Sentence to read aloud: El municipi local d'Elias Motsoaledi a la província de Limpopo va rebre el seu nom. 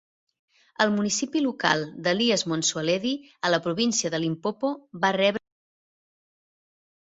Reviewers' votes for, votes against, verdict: 0, 2, rejected